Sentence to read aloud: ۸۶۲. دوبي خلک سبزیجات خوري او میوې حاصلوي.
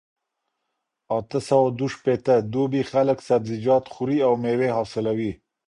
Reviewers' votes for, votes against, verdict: 0, 2, rejected